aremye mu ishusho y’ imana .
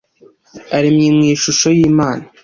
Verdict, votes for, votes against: accepted, 2, 0